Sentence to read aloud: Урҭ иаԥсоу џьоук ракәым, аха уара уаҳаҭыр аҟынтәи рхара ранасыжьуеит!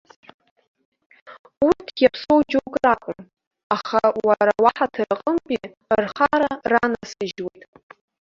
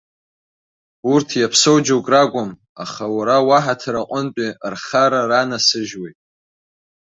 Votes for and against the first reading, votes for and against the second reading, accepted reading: 0, 2, 2, 0, second